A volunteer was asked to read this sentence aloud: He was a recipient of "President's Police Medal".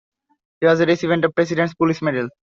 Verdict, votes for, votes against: rejected, 0, 2